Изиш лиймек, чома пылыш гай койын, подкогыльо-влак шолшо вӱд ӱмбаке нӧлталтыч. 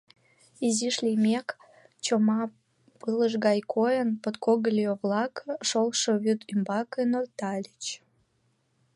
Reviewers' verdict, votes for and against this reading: rejected, 0, 2